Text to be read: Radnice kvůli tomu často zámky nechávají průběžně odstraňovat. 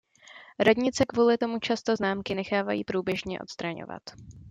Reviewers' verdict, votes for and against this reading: rejected, 0, 2